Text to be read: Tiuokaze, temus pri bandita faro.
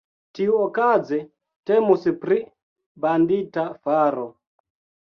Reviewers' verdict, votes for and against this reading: accepted, 2, 1